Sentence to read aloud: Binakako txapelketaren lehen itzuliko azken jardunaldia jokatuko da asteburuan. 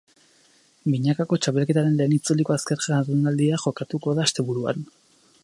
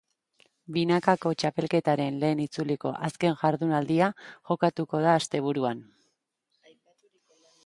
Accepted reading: second